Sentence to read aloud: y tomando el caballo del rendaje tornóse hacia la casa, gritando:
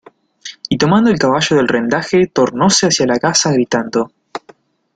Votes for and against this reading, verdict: 2, 0, accepted